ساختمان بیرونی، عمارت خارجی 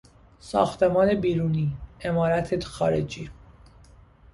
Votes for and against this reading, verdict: 1, 2, rejected